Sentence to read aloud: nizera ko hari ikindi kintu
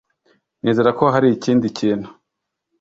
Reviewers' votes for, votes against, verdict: 2, 0, accepted